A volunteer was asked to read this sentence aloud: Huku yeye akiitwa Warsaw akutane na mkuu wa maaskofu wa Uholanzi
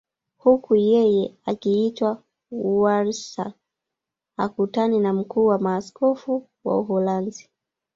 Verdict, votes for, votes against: rejected, 0, 2